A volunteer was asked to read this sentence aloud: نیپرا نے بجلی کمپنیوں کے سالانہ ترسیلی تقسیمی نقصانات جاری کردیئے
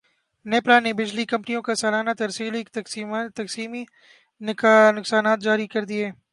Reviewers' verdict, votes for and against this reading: rejected, 2, 4